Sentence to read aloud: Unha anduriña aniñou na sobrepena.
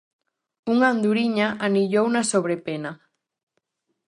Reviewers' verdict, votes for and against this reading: rejected, 0, 2